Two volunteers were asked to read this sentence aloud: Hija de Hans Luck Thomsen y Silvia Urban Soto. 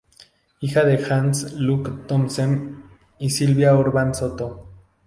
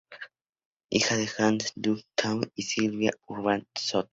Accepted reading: first